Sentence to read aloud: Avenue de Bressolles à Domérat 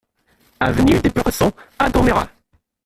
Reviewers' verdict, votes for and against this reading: rejected, 0, 2